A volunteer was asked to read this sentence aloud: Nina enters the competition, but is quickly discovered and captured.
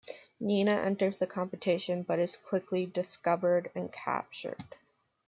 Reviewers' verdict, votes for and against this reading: accepted, 2, 0